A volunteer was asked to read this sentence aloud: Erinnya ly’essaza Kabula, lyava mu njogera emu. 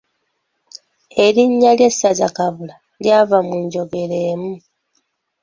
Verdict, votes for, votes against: accepted, 2, 0